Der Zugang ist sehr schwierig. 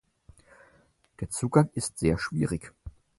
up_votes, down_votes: 4, 0